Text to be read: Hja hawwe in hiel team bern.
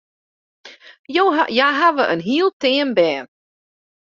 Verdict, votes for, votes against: rejected, 0, 2